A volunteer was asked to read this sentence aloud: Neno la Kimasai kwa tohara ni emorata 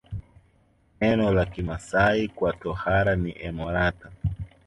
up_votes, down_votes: 5, 0